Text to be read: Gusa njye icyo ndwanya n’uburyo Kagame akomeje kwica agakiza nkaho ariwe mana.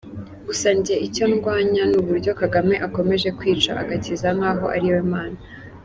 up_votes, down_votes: 2, 0